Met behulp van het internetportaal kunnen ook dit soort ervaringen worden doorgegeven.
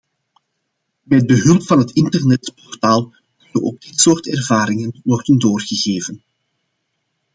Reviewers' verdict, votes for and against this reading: accepted, 2, 0